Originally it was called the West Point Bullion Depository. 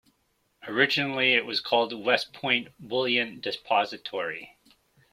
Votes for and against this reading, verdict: 2, 1, accepted